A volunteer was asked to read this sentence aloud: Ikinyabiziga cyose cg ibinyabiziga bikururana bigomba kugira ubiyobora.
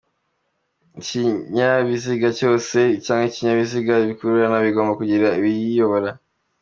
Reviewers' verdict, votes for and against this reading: accepted, 3, 0